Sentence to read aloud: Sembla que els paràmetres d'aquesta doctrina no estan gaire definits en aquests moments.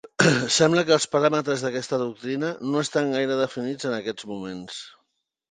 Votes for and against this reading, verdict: 3, 0, accepted